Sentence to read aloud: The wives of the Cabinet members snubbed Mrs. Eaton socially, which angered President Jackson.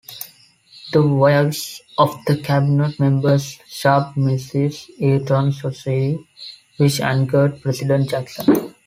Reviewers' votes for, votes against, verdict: 0, 2, rejected